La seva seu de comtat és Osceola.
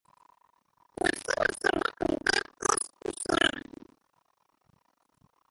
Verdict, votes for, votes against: rejected, 0, 2